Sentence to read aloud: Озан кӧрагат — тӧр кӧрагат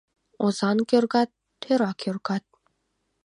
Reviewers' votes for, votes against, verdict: 0, 2, rejected